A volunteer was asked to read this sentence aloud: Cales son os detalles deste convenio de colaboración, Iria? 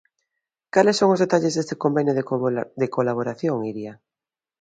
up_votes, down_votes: 0, 3